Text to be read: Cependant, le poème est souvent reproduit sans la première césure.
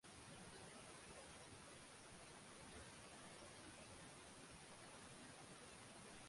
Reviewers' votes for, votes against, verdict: 0, 2, rejected